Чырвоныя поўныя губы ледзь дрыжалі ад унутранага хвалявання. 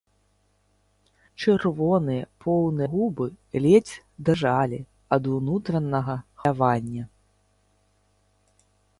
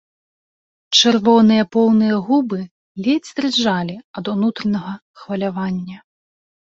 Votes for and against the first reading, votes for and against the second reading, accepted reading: 0, 2, 2, 0, second